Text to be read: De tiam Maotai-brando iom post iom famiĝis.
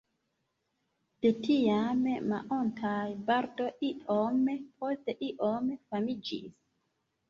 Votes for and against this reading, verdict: 0, 2, rejected